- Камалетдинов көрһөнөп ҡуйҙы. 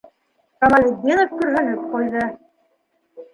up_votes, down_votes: 2, 1